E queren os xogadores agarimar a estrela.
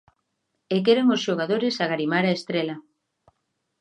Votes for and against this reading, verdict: 2, 0, accepted